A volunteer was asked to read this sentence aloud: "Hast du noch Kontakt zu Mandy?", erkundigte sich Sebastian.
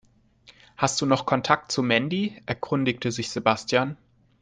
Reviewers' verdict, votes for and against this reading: accepted, 2, 0